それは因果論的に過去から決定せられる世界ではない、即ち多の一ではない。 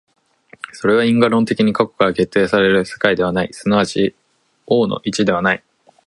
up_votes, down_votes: 3, 4